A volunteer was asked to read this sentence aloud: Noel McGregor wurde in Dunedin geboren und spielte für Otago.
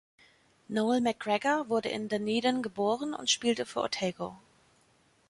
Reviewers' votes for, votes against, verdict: 3, 0, accepted